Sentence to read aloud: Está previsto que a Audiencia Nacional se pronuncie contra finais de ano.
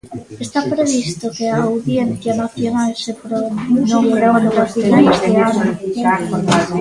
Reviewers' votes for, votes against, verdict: 0, 3, rejected